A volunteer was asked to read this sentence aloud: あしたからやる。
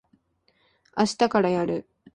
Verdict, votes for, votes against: accepted, 3, 0